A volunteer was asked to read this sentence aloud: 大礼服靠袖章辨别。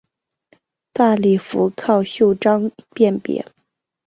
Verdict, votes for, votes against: accepted, 5, 0